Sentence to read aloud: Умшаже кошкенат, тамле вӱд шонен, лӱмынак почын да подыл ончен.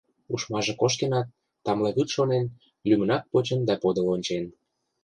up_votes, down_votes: 0, 2